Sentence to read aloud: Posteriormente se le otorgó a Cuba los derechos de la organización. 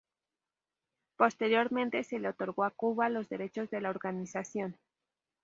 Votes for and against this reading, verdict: 2, 2, rejected